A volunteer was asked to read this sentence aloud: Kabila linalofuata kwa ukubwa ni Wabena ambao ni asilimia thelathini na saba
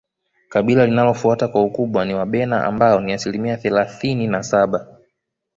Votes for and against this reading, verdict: 2, 0, accepted